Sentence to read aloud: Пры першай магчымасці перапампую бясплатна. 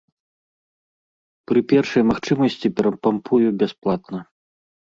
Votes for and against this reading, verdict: 1, 2, rejected